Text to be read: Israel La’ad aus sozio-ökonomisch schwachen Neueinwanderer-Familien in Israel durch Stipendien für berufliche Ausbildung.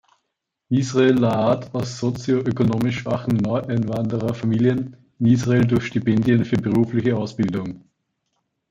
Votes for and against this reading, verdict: 2, 0, accepted